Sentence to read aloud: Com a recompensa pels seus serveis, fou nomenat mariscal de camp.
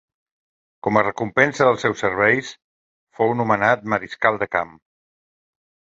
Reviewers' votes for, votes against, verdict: 1, 2, rejected